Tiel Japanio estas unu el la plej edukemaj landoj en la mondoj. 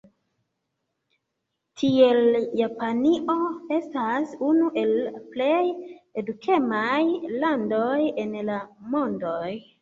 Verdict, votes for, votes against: accepted, 2, 1